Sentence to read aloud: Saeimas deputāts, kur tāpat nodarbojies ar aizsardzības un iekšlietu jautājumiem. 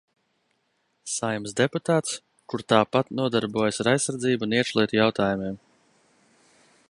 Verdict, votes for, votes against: rejected, 0, 2